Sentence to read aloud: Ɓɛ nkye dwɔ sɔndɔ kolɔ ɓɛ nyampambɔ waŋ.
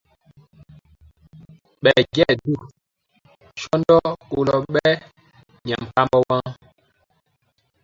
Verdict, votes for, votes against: rejected, 0, 2